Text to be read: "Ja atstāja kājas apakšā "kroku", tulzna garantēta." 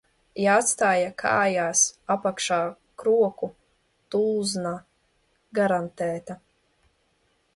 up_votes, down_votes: 0, 2